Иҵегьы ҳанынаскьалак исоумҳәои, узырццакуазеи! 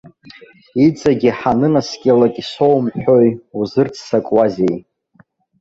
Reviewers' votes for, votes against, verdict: 0, 2, rejected